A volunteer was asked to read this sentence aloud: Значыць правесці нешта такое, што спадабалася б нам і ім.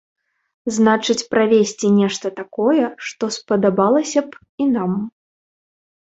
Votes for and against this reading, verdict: 0, 2, rejected